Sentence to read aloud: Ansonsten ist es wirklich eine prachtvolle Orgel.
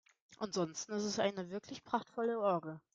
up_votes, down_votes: 0, 2